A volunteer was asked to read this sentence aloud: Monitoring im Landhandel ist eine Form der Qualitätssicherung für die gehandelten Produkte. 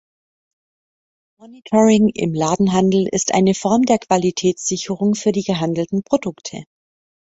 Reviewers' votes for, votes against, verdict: 0, 2, rejected